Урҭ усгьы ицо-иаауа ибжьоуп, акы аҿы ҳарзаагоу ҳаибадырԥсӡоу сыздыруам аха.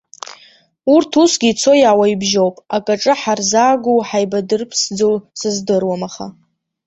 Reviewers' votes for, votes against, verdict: 1, 2, rejected